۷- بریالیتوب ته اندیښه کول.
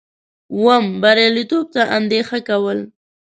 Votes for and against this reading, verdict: 0, 2, rejected